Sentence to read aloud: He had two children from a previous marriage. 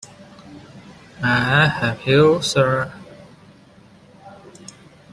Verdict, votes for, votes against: rejected, 0, 2